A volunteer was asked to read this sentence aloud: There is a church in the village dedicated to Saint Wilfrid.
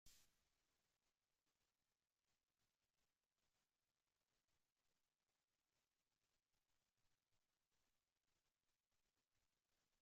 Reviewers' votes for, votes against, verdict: 0, 2, rejected